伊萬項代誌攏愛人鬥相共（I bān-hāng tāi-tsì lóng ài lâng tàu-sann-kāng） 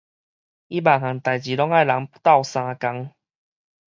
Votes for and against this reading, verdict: 4, 0, accepted